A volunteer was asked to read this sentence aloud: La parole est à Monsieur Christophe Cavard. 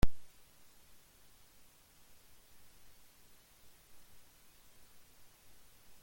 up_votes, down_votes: 0, 2